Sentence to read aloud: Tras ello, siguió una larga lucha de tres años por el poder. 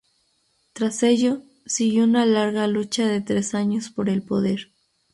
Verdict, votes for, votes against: rejected, 2, 2